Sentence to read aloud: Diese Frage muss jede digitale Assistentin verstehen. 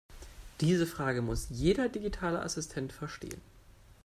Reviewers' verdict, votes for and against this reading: rejected, 0, 2